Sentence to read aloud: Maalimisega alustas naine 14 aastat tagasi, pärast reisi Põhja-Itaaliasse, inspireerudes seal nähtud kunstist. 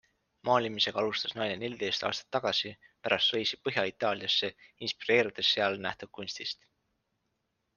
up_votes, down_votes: 0, 2